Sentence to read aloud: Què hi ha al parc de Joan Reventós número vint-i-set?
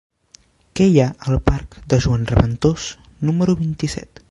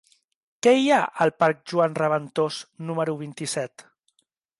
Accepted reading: first